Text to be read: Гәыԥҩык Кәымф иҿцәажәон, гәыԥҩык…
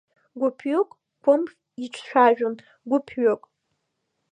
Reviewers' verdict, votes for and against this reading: accepted, 2, 1